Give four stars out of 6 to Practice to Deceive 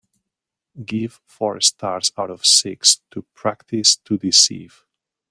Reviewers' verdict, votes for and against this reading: rejected, 0, 2